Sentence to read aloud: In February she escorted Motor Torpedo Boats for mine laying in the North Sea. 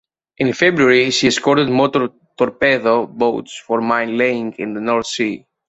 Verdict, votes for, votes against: accepted, 2, 1